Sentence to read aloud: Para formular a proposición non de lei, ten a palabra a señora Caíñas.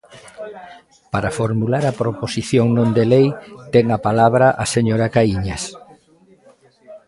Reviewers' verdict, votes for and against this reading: rejected, 0, 2